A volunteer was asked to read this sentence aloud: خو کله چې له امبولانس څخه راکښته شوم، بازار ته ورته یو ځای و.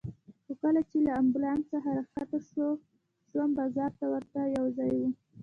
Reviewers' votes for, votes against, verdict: 0, 2, rejected